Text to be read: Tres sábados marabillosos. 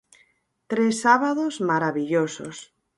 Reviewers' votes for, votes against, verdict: 4, 0, accepted